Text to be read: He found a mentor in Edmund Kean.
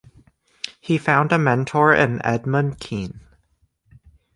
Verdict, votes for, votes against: accepted, 3, 0